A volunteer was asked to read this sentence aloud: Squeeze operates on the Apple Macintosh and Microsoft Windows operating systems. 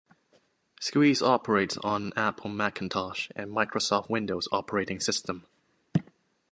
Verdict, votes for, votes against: accepted, 2, 0